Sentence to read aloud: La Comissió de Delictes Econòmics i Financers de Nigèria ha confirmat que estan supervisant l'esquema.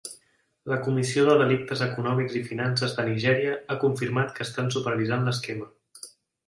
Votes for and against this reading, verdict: 0, 2, rejected